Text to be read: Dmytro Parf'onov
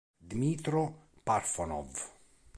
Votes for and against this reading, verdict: 2, 0, accepted